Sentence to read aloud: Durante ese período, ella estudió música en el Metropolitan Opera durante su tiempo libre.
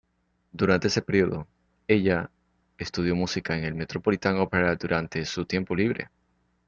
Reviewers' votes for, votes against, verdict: 2, 0, accepted